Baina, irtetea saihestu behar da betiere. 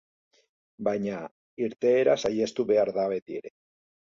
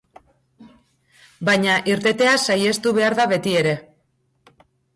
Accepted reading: second